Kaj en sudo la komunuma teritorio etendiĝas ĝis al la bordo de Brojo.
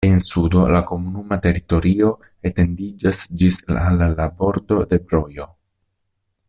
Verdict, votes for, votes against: rejected, 0, 2